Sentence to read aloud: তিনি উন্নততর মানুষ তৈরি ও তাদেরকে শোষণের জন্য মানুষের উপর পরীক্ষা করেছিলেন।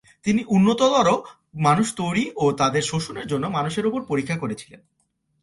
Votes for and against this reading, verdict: 1, 2, rejected